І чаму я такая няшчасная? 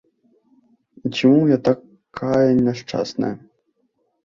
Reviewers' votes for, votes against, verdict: 1, 2, rejected